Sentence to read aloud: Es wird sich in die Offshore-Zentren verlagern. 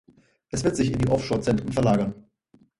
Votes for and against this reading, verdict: 4, 0, accepted